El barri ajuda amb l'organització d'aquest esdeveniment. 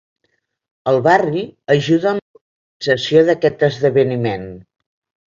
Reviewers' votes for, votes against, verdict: 1, 2, rejected